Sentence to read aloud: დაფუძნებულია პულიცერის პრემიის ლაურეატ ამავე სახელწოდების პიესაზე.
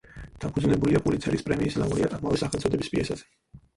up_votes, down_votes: 0, 4